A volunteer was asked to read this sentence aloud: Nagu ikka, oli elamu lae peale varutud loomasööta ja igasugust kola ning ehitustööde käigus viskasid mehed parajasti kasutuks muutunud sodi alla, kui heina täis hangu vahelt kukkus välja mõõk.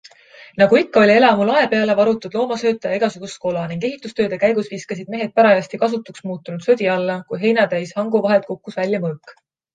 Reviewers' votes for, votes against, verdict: 2, 0, accepted